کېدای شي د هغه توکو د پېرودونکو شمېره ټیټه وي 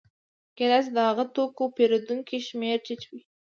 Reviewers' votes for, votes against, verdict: 2, 0, accepted